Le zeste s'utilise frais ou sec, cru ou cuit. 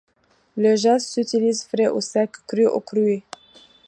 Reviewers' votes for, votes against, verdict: 1, 2, rejected